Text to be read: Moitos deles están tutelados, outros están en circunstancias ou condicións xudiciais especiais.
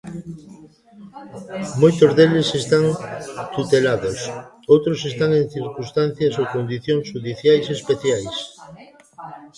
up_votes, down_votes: 0, 2